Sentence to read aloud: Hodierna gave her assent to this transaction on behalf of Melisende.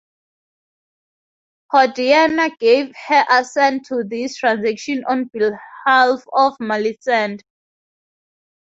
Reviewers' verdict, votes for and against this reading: accepted, 4, 2